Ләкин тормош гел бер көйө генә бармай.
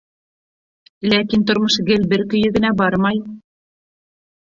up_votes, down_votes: 2, 0